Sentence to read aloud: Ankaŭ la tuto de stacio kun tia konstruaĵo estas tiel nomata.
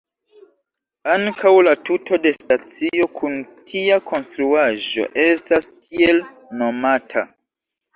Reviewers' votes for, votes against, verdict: 2, 0, accepted